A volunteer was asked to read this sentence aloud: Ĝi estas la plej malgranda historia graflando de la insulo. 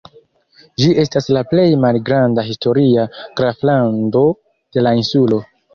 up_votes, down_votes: 1, 2